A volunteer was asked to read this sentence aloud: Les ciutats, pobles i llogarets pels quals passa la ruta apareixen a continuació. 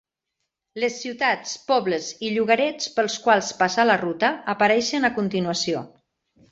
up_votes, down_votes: 3, 0